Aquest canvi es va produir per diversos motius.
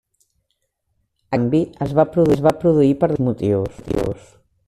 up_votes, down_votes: 1, 2